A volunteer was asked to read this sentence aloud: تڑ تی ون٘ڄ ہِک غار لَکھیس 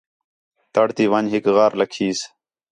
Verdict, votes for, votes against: accepted, 6, 0